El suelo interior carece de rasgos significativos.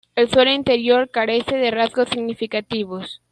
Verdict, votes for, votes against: accepted, 2, 0